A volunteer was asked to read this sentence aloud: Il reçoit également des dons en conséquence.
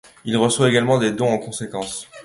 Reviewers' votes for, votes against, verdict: 2, 0, accepted